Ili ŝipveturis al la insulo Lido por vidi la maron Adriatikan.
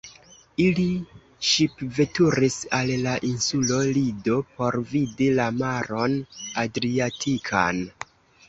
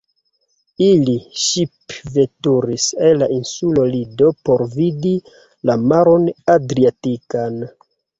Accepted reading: first